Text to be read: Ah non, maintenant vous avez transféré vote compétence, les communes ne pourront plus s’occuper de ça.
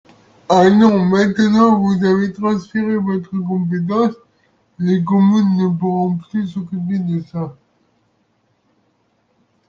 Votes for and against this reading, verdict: 2, 0, accepted